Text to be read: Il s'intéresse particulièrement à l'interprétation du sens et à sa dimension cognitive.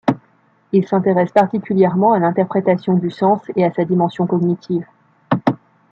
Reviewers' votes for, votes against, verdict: 2, 0, accepted